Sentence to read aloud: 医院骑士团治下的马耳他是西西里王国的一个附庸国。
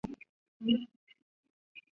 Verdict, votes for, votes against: rejected, 0, 2